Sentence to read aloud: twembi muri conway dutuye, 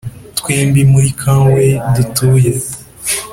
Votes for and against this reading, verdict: 2, 0, accepted